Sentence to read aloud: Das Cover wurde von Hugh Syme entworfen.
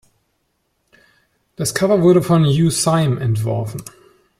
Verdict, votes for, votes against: accepted, 2, 0